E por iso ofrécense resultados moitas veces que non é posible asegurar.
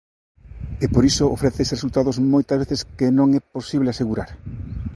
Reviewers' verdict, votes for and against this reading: rejected, 0, 2